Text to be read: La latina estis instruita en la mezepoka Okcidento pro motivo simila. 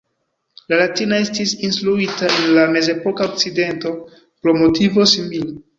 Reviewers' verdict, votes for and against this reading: rejected, 1, 2